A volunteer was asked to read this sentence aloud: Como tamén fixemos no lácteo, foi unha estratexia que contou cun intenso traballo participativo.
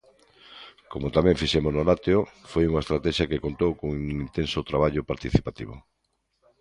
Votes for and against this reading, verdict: 1, 2, rejected